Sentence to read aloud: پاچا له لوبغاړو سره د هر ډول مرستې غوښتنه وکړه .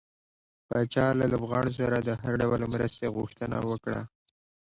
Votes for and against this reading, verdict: 2, 1, accepted